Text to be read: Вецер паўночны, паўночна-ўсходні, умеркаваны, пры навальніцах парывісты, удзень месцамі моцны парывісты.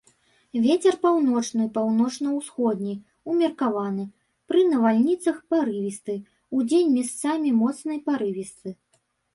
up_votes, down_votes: 0, 2